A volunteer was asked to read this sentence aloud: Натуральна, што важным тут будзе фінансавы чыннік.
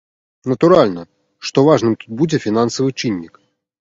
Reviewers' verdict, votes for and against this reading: accepted, 3, 0